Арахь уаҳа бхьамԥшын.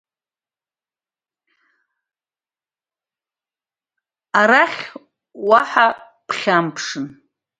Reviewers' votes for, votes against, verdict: 0, 2, rejected